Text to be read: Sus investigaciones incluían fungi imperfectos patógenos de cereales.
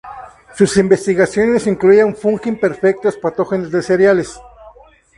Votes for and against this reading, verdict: 0, 2, rejected